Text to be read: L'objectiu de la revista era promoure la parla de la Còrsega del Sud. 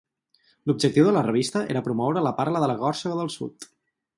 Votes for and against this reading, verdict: 0, 4, rejected